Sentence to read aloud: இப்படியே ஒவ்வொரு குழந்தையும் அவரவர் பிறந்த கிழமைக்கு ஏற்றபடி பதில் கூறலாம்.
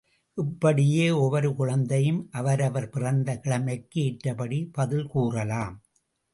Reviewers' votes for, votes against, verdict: 2, 0, accepted